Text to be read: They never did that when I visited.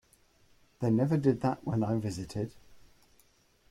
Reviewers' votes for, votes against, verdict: 2, 1, accepted